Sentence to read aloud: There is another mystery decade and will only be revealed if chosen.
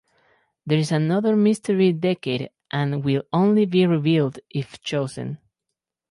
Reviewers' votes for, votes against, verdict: 2, 0, accepted